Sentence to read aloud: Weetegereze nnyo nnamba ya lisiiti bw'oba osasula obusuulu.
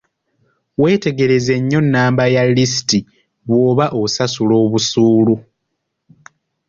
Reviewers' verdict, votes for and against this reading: accepted, 2, 1